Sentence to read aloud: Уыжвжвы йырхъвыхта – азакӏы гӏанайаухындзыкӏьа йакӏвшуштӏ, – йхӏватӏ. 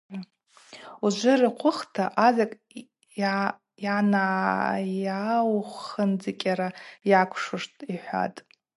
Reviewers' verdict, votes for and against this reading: accepted, 2, 0